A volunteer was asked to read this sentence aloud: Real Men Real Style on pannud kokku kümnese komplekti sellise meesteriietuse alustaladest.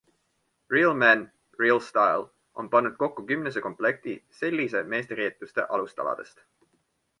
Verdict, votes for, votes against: accepted, 2, 0